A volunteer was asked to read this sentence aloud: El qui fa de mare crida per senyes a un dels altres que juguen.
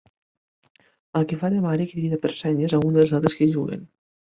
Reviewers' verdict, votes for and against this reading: accepted, 3, 1